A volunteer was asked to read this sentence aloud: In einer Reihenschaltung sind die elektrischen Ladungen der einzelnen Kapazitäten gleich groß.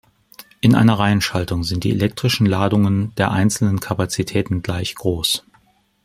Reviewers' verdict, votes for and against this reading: accepted, 2, 0